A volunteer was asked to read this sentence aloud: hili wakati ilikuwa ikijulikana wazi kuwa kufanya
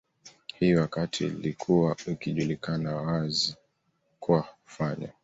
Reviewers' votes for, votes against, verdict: 2, 0, accepted